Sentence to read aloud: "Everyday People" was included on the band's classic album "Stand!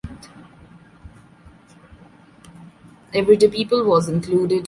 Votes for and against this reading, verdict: 0, 2, rejected